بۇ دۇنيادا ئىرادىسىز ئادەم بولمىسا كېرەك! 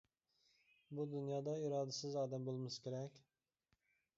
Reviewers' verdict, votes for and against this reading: accepted, 2, 0